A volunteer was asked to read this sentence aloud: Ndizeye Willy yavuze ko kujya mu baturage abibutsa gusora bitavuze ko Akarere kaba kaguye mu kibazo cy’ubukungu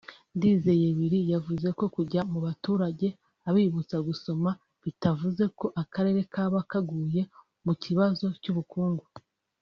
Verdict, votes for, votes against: rejected, 1, 2